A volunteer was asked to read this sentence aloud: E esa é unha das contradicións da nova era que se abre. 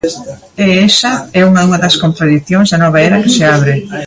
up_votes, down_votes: 0, 2